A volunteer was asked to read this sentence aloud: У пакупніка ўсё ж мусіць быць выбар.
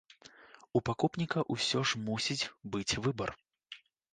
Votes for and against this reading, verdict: 1, 2, rejected